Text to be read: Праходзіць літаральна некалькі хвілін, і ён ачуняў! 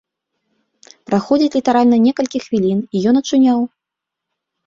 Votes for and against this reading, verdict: 2, 0, accepted